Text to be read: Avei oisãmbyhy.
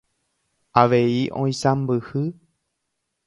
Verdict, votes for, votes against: accepted, 2, 0